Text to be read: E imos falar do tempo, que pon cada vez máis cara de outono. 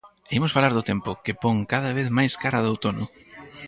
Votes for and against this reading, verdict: 2, 4, rejected